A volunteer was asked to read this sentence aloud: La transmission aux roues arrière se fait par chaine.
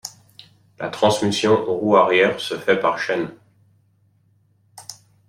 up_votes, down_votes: 2, 1